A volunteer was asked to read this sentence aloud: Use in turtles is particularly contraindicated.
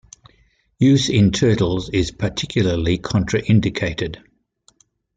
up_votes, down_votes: 2, 0